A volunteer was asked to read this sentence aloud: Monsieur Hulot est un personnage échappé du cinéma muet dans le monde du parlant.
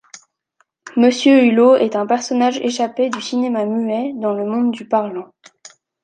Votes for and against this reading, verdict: 2, 0, accepted